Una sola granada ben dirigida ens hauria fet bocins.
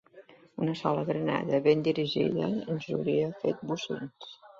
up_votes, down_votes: 2, 0